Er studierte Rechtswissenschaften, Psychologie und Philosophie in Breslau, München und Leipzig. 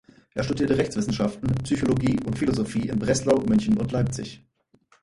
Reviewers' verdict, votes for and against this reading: rejected, 2, 4